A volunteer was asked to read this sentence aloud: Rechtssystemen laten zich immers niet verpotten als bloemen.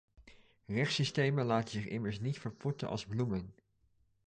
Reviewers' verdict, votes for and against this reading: accepted, 2, 0